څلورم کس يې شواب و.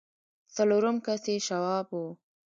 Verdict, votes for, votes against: rejected, 1, 2